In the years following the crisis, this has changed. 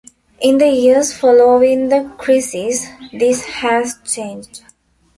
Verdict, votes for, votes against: rejected, 1, 2